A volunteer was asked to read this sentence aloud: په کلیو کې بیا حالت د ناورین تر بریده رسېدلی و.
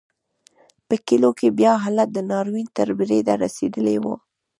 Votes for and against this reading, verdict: 2, 0, accepted